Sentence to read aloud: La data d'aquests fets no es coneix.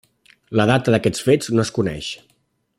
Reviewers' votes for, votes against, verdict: 2, 0, accepted